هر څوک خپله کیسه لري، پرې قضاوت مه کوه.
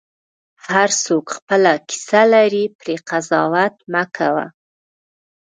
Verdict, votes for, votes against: accepted, 2, 0